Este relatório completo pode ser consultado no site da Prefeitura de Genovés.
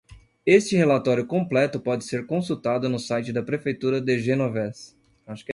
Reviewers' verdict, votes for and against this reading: rejected, 1, 2